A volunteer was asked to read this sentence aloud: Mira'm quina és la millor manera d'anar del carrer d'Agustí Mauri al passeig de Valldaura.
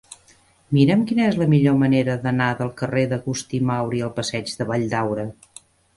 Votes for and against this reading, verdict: 3, 0, accepted